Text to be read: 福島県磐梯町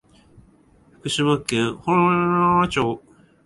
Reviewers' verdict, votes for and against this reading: rejected, 0, 3